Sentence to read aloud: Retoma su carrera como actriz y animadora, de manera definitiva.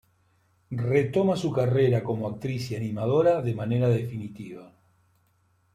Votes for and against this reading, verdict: 2, 1, accepted